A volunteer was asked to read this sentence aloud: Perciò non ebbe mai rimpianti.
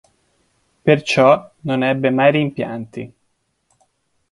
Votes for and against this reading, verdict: 2, 1, accepted